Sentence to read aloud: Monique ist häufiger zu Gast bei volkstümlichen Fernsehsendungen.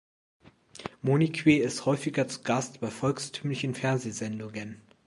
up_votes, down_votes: 0, 2